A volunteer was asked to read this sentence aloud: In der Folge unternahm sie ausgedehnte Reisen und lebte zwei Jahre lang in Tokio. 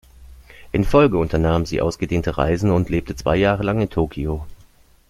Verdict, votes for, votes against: rejected, 0, 2